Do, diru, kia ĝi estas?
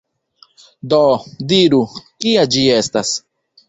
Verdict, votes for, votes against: accepted, 2, 0